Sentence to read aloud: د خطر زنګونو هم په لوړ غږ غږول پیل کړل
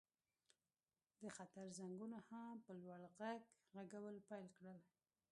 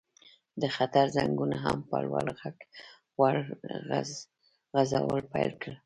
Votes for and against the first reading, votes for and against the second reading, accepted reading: 1, 2, 2, 0, second